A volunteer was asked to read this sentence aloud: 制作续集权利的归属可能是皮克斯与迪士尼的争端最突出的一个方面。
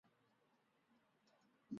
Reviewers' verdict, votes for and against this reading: rejected, 0, 2